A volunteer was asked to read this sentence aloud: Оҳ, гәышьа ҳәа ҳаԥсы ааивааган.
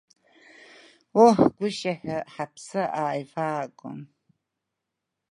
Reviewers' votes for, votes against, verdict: 1, 2, rejected